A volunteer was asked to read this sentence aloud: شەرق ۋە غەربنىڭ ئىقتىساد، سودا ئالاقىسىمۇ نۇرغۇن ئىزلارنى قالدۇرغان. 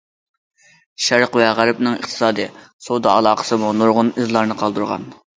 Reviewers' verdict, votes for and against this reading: rejected, 0, 2